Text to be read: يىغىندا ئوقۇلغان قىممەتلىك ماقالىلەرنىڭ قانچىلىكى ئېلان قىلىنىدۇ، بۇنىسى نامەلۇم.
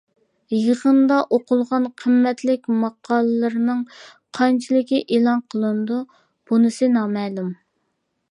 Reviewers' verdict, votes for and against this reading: rejected, 0, 2